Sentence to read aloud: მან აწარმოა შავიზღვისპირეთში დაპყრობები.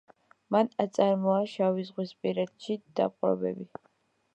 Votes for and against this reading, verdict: 2, 0, accepted